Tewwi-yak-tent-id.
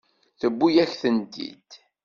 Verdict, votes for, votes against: accepted, 2, 0